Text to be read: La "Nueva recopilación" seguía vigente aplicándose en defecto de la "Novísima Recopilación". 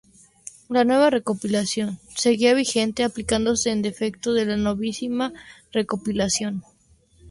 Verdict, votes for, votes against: accepted, 2, 0